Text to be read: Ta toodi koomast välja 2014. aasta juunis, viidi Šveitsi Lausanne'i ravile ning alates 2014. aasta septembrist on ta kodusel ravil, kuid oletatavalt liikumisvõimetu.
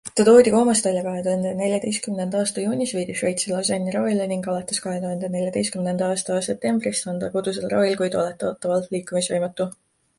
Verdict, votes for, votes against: rejected, 0, 2